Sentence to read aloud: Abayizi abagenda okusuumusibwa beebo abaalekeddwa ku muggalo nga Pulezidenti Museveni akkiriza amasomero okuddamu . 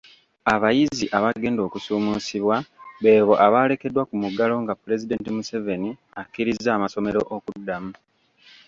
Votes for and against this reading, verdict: 2, 0, accepted